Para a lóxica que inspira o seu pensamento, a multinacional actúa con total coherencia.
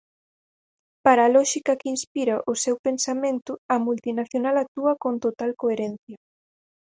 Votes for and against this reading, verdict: 4, 0, accepted